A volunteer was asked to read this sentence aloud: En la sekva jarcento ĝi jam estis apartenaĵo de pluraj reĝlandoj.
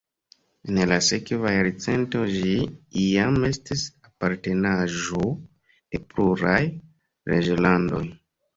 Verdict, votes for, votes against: rejected, 1, 2